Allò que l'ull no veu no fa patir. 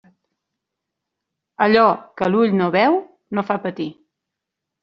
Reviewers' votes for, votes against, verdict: 3, 0, accepted